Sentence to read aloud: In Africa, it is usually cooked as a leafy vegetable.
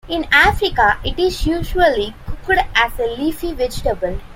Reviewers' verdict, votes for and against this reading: accepted, 2, 0